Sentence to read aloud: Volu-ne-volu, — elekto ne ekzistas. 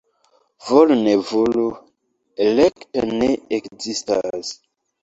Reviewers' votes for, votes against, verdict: 2, 1, accepted